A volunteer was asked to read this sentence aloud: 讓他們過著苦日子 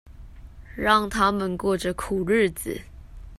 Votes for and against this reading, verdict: 2, 0, accepted